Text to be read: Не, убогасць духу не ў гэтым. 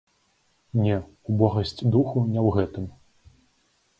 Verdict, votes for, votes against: rejected, 0, 2